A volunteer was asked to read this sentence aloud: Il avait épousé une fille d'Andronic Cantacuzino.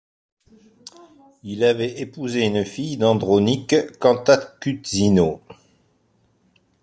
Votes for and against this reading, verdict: 1, 2, rejected